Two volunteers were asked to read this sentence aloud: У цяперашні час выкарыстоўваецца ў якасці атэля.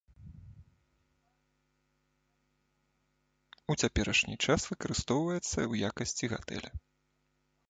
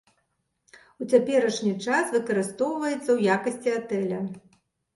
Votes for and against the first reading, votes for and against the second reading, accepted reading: 1, 2, 2, 0, second